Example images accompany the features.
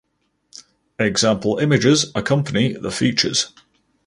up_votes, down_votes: 0, 2